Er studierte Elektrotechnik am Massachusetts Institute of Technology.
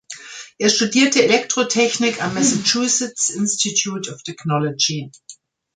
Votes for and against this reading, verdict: 0, 2, rejected